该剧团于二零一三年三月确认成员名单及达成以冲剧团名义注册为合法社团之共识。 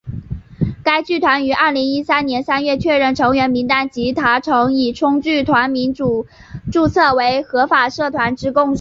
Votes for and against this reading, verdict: 0, 2, rejected